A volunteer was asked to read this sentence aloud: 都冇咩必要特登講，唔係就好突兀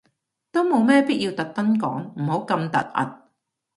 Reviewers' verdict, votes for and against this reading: rejected, 0, 2